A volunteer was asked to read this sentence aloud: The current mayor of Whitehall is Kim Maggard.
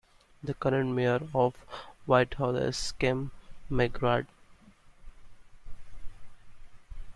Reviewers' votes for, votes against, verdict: 1, 2, rejected